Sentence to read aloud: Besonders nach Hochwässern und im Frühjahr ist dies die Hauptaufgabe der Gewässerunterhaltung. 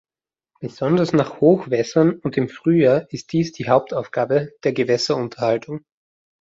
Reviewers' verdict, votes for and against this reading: accepted, 2, 0